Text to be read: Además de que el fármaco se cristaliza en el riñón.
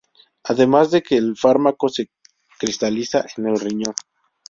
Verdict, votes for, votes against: rejected, 0, 2